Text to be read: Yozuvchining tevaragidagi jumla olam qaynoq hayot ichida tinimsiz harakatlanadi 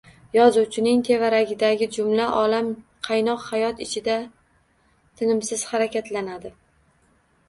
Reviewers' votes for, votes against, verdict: 2, 0, accepted